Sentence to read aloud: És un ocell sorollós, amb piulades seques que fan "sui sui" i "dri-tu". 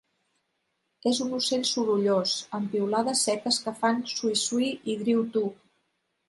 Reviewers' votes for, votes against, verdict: 1, 2, rejected